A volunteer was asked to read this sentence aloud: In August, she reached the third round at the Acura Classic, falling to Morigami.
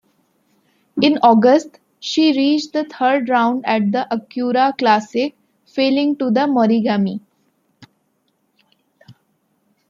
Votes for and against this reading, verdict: 0, 2, rejected